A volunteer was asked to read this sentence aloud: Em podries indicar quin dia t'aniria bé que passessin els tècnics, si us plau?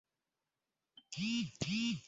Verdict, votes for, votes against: rejected, 0, 2